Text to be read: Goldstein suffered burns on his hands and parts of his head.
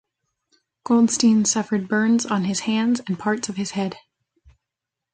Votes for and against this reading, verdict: 2, 0, accepted